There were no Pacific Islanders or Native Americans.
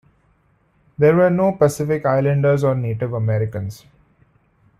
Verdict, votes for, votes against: accepted, 2, 0